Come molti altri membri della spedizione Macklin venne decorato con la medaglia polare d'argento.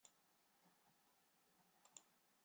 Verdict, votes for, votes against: rejected, 0, 2